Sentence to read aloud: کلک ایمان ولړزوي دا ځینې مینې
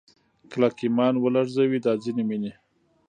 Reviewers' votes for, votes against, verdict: 1, 2, rejected